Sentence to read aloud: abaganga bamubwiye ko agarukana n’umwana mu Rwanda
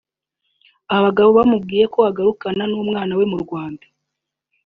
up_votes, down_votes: 1, 2